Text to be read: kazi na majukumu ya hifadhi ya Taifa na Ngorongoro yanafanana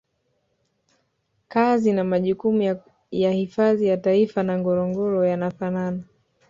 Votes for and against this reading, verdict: 1, 2, rejected